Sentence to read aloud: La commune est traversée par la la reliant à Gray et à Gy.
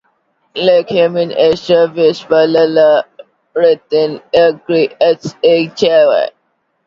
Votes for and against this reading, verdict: 2, 1, accepted